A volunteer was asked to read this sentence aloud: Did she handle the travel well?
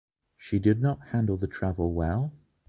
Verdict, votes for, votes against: rejected, 1, 2